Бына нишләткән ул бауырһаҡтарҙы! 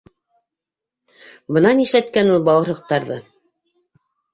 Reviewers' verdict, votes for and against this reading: rejected, 1, 2